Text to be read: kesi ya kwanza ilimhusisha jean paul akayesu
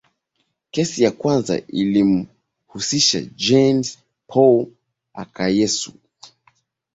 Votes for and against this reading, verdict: 2, 1, accepted